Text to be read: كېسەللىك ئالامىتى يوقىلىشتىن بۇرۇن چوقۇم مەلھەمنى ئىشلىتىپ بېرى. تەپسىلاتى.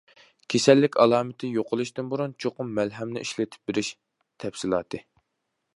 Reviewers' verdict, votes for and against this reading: rejected, 0, 2